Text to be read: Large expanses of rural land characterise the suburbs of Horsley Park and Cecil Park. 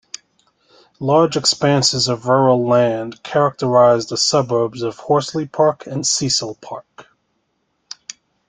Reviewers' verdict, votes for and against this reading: accepted, 2, 0